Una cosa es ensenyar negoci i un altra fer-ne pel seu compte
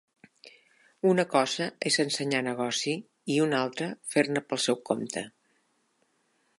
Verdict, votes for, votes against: accepted, 2, 1